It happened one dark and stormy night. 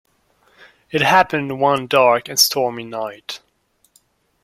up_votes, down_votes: 2, 0